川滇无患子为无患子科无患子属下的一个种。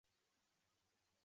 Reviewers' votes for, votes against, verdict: 0, 2, rejected